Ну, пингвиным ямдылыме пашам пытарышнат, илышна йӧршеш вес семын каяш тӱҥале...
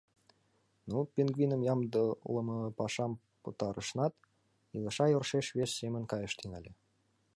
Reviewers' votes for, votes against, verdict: 0, 2, rejected